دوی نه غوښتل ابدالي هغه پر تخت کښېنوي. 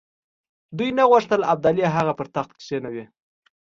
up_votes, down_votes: 2, 0